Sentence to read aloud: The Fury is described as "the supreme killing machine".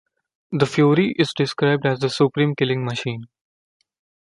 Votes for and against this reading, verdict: 2, 0, accepted